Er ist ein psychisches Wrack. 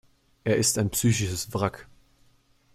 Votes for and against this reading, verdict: 2, 0, accepted